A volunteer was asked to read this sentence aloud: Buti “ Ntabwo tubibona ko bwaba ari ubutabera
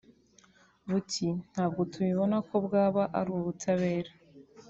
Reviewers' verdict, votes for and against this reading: accepted, 2, 0